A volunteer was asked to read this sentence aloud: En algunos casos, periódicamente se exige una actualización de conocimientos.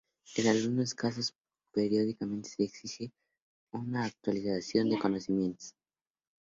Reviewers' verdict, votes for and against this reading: rejected, 0, 2